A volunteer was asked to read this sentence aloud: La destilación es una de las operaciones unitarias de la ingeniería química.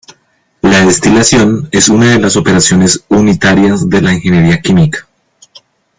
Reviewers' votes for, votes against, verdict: 2, 0, accepted